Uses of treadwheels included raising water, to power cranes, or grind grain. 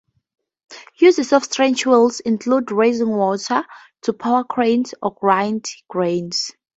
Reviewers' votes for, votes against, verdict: 6, 2, accepted